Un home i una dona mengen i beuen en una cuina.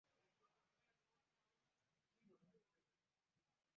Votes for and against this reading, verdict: 0, 2, rejected